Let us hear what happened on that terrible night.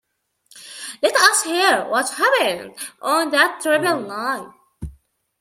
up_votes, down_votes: 0, 2